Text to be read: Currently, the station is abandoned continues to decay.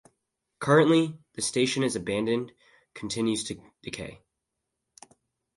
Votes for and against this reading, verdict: 4, 0, accepted